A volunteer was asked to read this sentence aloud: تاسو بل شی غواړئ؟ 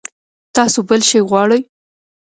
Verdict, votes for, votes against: accepted, 2, 1